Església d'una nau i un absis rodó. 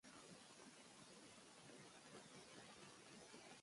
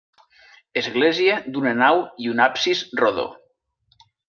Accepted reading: second